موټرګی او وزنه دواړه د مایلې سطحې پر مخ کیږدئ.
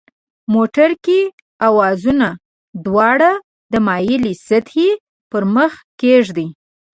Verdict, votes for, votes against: rejected, 1, 2